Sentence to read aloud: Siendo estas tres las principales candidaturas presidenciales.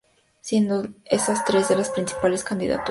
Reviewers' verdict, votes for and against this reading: rejected, 0, 2